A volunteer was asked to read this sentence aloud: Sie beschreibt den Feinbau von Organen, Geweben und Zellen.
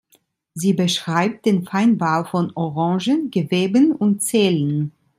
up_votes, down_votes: 1, 2